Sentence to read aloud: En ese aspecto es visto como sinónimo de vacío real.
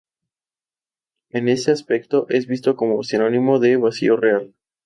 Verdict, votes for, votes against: accepted, 2, 0